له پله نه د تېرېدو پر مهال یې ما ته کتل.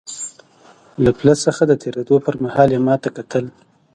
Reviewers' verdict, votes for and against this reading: rejected, 0, 2